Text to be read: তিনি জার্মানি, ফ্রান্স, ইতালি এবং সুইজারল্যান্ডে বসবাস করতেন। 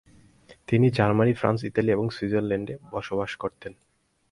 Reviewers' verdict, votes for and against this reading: accepted, 4, 0